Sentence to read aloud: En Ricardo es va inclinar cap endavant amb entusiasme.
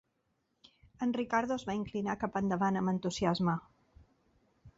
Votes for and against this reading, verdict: 2, 0, accepted